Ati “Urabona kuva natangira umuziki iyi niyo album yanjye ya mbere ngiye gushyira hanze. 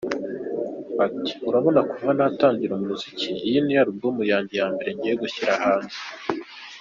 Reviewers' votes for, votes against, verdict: 2, 1, accepted